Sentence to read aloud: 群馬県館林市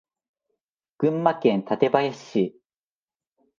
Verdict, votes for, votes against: accepted, 2, 0